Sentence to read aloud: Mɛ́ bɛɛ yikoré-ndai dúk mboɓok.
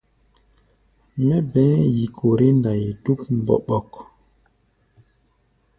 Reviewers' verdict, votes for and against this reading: rejected, 1, 2